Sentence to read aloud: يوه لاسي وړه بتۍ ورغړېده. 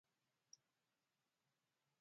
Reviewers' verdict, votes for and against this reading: rejected, 0, 2